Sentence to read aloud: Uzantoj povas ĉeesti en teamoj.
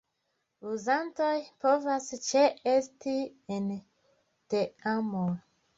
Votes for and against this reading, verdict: 2, 0, accepted